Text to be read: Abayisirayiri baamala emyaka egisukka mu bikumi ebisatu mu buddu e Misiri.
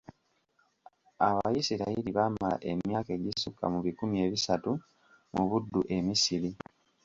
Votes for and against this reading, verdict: 2, 0, accepted